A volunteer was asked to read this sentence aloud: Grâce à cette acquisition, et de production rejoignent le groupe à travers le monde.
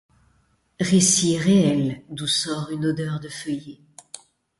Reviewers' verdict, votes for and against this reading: rejected, 1, 2